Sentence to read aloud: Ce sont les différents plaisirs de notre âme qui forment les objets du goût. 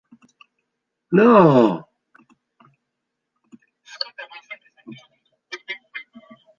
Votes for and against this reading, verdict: 0, 2, rejected